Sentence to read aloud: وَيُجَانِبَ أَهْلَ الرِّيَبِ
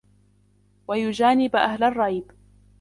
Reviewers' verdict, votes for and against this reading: rejected, 0, 2